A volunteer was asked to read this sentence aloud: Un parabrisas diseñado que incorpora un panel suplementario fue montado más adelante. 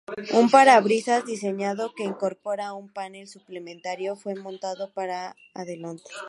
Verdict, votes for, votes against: rejected, 0, 2